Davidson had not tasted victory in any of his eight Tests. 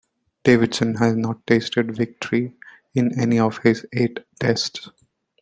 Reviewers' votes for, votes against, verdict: 2, 0, accepted